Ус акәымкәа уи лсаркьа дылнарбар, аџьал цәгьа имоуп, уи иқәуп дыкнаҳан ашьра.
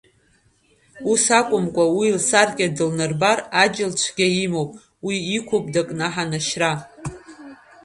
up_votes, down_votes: 1, 2